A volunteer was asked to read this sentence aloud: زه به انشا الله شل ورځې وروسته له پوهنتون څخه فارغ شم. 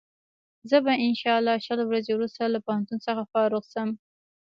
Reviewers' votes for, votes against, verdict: 1, 2, rejected